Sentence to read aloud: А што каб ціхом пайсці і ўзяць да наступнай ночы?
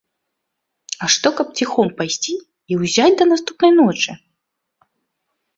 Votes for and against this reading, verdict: 2, 0, accepted